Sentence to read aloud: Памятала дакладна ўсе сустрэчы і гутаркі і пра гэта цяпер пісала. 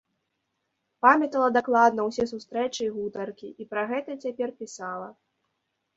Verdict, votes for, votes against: accepted, 2, 0